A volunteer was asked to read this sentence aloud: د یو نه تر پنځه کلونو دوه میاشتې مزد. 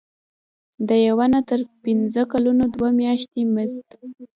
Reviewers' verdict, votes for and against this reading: rejected, 0, 2